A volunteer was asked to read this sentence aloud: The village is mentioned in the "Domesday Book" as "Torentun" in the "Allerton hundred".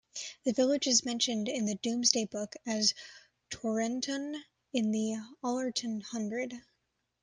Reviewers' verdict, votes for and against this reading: accepted, 2, 1